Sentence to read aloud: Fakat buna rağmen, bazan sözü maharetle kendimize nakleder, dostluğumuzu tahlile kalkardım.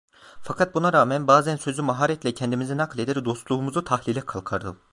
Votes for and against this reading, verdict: 0, 2, rejected